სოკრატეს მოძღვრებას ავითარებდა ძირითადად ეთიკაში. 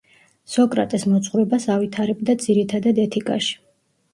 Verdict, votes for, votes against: rejected, 1, 2